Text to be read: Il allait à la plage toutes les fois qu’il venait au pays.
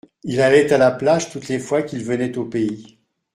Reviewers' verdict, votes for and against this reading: accepted, 2, 0